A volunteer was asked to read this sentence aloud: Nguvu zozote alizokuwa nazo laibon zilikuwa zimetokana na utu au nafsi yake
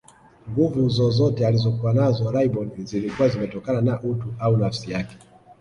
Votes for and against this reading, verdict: 2, 0, accepted